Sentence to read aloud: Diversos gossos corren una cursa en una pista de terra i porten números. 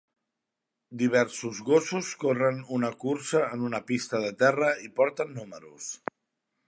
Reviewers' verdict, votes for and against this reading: accepted, 3, 0